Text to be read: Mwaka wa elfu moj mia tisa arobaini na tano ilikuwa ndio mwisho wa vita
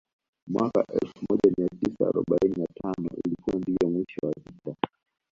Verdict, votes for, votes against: accepted, 2, 0